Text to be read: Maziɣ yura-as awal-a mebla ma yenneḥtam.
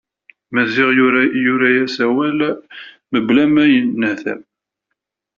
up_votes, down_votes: 0, 2